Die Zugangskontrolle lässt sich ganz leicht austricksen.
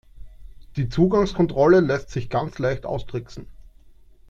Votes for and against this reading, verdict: 2, 0, accepted